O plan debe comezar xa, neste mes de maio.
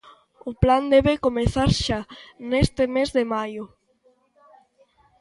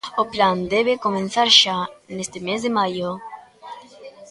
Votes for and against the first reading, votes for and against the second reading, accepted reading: 2, 0, 0, 2, first